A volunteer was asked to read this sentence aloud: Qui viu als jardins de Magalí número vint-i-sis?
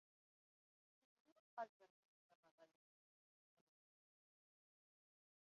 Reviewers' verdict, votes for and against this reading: rejected, 0, 2